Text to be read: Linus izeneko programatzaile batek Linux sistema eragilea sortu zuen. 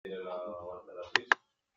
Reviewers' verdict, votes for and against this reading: rejected, 0, 2